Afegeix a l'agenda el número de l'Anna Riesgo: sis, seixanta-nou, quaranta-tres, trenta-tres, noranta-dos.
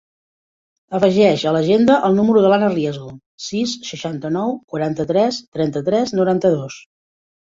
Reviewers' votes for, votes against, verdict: 0, 2, rejected